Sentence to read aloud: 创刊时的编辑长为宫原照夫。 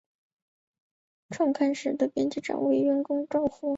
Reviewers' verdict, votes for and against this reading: accepted, 6, 0